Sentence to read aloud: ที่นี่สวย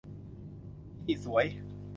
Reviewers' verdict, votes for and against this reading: rejected, 0, 2